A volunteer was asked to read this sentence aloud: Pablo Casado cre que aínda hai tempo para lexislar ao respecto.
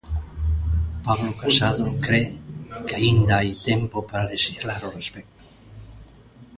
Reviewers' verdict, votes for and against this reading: accepted, 2, 0